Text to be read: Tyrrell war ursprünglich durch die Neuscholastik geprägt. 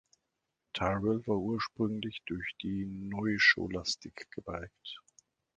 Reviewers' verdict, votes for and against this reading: rejected, 1, 2